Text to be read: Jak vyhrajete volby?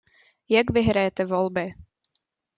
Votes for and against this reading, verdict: 2, 0, accepted